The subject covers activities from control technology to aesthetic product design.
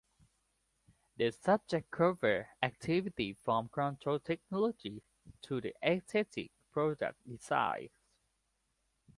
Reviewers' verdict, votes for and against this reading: rejected, 0, 2